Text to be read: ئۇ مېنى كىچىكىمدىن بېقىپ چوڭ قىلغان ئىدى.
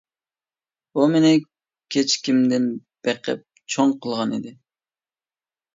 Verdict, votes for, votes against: rejected, 0, 2